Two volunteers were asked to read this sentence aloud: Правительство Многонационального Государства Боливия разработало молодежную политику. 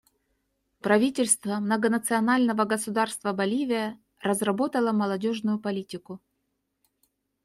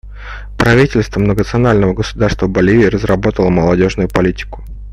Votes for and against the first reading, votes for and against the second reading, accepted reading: 2, 0, 0, 2, first